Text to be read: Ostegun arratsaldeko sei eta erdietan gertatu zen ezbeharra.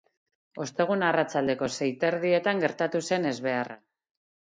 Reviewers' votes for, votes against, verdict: 2, 0, accepted